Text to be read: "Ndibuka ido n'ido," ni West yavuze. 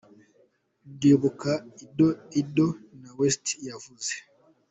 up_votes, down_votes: 2, 0